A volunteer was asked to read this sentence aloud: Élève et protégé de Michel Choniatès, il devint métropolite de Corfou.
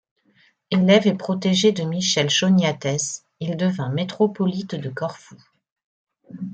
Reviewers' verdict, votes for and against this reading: accepted, 2, 0